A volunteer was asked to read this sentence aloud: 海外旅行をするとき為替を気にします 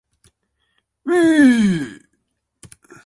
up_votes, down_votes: 0, 2